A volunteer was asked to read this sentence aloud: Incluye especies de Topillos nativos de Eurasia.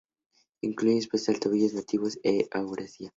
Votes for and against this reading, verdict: 2, 0, accepted